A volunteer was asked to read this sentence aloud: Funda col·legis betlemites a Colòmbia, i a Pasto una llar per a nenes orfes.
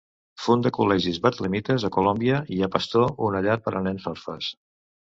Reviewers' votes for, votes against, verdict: 2, 1, accepted